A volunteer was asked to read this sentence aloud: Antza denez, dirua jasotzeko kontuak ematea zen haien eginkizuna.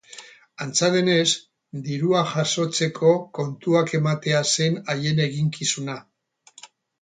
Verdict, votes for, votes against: accepted, 8, 0